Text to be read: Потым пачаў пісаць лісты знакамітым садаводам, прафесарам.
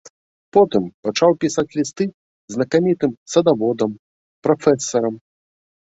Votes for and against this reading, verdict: 1, 2, rejected